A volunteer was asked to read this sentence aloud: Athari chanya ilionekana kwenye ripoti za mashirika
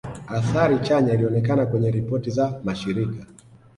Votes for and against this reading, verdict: 2, 0, accepted